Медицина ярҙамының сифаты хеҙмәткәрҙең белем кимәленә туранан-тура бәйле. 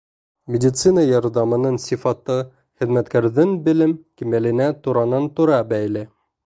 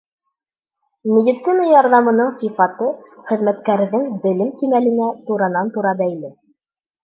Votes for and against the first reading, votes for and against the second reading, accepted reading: 2, 0, 0, 2, first